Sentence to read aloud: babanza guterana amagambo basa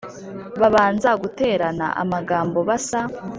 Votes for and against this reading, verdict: 2, 0, accepted